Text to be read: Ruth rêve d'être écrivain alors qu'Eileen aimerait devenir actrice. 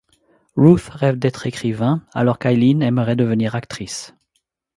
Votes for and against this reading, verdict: 2, 0, accepted